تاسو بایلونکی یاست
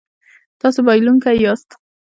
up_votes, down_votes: 2, 0